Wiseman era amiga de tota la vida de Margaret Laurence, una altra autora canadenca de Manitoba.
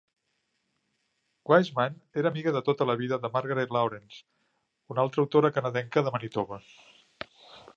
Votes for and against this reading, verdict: 1, 2, rejected